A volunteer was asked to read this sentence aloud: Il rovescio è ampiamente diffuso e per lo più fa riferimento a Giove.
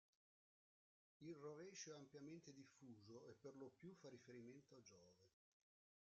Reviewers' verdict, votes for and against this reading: rejected, 1, 2